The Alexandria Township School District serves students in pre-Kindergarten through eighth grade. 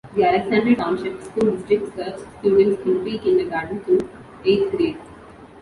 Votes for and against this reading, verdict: 1, 2, rejected